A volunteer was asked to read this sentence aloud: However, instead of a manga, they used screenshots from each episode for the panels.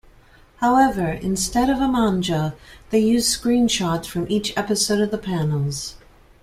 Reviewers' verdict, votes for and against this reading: rejected, 1, 3